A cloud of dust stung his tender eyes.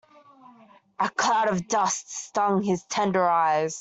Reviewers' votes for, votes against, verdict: 2, 0, accepted